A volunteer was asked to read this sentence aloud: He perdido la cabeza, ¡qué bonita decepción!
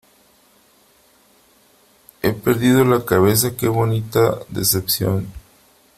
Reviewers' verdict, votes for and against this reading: accepted, 3, 1